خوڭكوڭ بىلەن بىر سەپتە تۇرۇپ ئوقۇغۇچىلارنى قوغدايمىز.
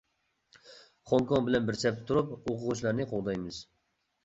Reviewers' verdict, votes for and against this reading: accepted, 2, 0